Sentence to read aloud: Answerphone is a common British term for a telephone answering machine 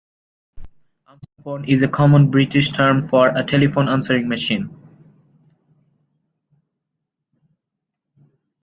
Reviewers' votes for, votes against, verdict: 0, 2, rejected